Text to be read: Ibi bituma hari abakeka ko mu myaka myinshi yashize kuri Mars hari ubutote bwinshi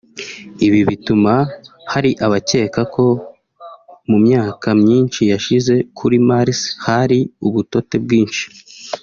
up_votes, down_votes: 1, 2